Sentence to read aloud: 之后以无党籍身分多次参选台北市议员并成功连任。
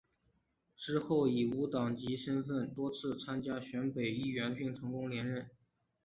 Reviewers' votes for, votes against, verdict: 2, 1, accepted